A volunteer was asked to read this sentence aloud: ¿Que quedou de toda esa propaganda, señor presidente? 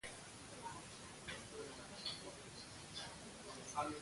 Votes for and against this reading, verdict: 0, 2, rejected